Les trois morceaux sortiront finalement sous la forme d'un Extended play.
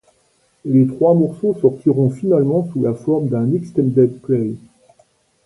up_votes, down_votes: 2, 0